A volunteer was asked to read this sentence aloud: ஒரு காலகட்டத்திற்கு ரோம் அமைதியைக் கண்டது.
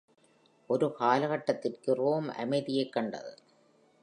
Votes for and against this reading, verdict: 2, 0, accepted